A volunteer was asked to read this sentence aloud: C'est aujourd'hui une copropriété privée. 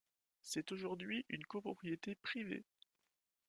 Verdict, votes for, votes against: accepted, 2, 1